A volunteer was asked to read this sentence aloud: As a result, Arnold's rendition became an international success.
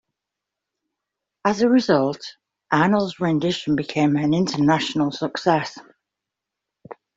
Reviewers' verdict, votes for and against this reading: accepted, 2, 0